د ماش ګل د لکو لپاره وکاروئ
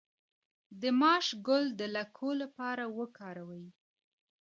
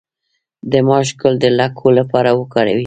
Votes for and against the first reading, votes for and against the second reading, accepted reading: 2, 1, 0, 2, first